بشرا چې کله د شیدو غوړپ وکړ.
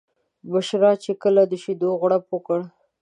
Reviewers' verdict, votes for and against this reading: accepted, 2, 0